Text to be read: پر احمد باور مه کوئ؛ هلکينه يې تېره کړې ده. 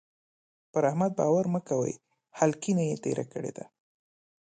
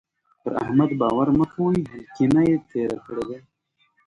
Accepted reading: first